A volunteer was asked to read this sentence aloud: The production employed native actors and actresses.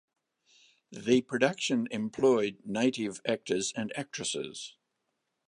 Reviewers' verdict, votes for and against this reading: rejected, 0, 2